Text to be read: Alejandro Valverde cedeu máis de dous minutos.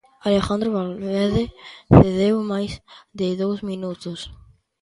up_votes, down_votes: 2, 0